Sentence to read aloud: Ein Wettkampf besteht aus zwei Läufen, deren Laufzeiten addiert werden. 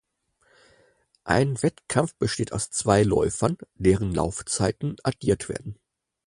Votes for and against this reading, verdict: 0, 4, rejected